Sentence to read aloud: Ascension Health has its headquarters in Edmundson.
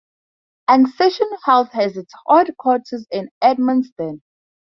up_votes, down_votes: 0, 4